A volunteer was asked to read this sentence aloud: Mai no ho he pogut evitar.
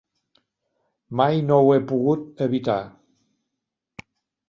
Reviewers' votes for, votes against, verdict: 3, 0, accepted